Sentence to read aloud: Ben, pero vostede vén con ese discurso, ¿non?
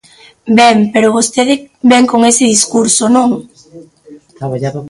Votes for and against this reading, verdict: 0, 2, rejected